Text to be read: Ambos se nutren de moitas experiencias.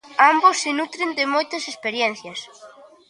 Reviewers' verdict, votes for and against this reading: accepted, 2, 0